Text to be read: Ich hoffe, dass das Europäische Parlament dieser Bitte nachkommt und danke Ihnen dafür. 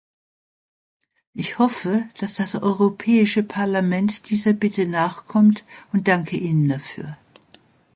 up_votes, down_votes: 2, 0